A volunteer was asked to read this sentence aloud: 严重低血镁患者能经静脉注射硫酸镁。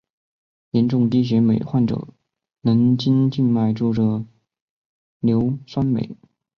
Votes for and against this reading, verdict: 3, 0, accepted